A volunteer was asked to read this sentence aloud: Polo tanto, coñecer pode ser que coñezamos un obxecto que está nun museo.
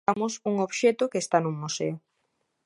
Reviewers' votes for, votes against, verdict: 0, 2, rejected